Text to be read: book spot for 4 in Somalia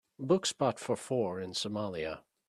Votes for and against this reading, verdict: 0, 2, rejected